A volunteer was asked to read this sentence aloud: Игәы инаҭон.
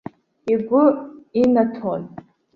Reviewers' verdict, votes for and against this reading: accepted, 2, 0